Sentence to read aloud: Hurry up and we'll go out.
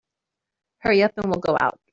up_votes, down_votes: 2, 0